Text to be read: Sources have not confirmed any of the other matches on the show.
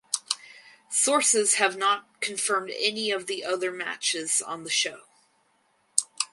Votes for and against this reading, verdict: 4, 0, accepted